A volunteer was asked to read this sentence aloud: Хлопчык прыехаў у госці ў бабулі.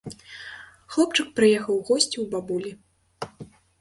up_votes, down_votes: 2, 0